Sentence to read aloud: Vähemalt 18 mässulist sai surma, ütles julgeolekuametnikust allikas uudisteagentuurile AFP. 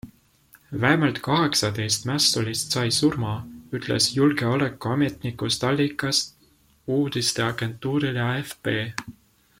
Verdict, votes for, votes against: rejected, 0, 2